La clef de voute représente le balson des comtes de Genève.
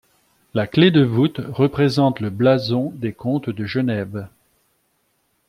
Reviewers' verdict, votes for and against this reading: rejected, 1, 2